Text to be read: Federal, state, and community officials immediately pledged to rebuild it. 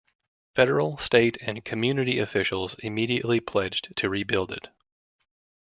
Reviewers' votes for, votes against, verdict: 2, 0, accepted